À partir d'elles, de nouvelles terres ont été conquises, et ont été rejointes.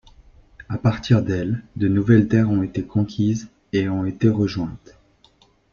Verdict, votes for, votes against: accepted, 2, 0